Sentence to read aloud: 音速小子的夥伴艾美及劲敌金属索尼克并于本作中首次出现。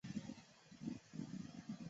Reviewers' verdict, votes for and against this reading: rejected, 0, 3